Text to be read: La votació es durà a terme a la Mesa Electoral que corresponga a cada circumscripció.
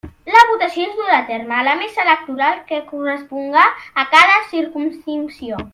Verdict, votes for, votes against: rejected, 1, 2